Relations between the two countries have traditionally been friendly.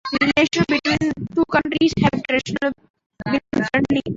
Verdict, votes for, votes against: rejected, 0, 2